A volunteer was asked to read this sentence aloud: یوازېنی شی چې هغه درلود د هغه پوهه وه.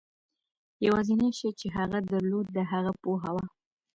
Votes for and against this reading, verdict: 2, 0, accepted